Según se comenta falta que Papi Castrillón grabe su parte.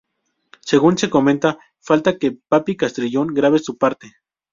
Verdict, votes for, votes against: accepted, 2, 0